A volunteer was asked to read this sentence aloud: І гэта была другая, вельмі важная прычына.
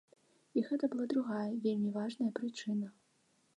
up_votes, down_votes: 2, 0